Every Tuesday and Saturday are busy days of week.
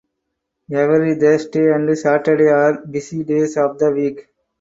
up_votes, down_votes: 2, 4